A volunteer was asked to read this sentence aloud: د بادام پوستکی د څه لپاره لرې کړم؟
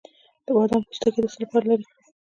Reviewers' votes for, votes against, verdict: 1, 2, rejected